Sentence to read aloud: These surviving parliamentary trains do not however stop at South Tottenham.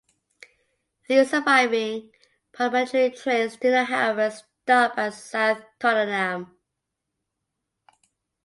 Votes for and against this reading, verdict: 2, 0, accepted